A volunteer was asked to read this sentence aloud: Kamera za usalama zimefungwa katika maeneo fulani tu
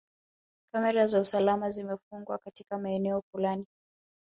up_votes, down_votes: 1, 3